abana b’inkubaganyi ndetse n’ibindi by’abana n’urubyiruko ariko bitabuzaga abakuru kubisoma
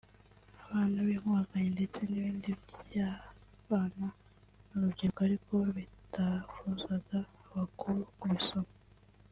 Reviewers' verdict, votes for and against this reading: accepted, 2, 1